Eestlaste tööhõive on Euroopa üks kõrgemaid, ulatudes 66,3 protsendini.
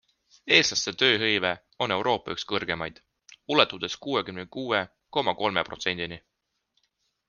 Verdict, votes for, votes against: rejected, 0, 2